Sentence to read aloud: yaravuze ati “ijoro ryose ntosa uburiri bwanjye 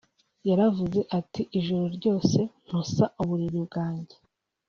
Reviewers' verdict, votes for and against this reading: accepted, 2, 0